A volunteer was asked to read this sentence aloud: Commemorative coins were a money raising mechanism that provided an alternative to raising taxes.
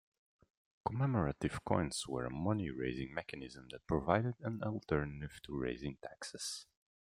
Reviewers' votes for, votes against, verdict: 1, 2, rejected